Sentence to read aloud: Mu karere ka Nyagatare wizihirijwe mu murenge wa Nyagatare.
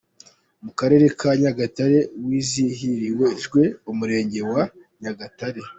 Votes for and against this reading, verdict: 0, 2, rejected